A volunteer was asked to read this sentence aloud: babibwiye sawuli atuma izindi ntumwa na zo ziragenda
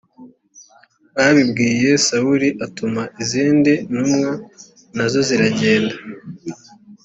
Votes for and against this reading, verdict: 2, 0, accepted